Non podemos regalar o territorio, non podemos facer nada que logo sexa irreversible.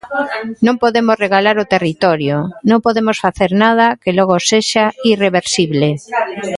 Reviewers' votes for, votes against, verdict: 1, 2, rejected